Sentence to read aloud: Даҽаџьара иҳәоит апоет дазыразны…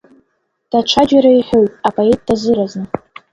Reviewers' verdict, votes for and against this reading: accepted, 2, 0